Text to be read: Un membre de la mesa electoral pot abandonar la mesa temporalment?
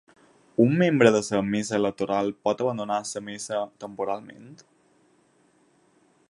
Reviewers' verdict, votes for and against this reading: rejected, 2, 4